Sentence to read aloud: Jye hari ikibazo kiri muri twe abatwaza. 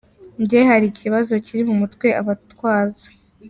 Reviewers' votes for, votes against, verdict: 2, 0, accepted